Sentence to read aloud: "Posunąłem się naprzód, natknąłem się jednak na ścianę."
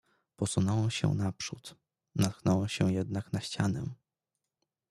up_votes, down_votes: 2, 0